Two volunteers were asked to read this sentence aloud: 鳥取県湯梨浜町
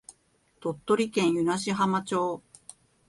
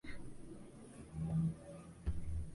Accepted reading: first